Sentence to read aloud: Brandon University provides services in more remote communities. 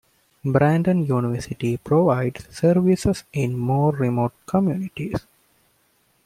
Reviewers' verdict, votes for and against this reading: accepted, 2, 0